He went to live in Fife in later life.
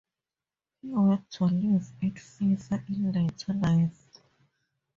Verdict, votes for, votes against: rejected, 0, 2